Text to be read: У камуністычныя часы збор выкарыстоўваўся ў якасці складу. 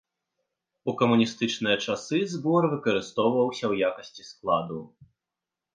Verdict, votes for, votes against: accepted, 3, 0